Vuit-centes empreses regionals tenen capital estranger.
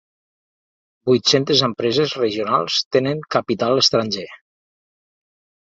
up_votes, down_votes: 2, 0